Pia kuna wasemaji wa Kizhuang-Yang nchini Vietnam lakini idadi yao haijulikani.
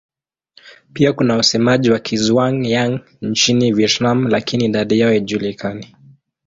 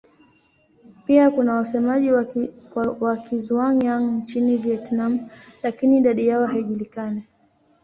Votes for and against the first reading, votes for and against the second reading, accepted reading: 2, 0, 1, 2, first